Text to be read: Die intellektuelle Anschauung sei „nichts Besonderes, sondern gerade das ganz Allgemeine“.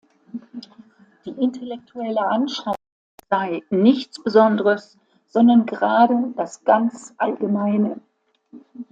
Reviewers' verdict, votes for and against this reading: rejected, 0, 2